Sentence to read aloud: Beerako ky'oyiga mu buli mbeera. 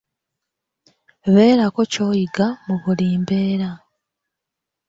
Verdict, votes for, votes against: accepted, 2, 0